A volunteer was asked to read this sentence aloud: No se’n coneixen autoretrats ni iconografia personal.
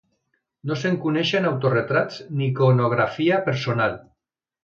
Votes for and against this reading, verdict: 2, 0, accepted